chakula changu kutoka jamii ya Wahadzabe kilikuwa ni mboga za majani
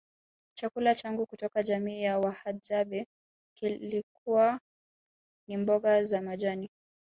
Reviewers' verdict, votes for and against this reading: rejected, 0, 2